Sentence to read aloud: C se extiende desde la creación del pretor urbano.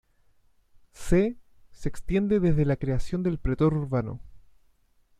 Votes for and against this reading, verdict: 2, 0, accepted